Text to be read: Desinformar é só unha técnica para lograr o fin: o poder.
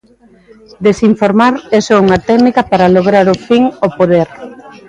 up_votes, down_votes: 2, 1